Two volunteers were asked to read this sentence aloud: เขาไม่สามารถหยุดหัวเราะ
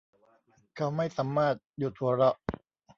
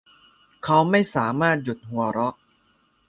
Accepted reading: second